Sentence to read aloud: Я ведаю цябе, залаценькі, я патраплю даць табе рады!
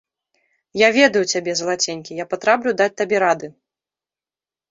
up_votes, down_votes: 2, 0